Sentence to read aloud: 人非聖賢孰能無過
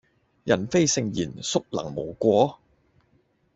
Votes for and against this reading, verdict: 0, 2, rejected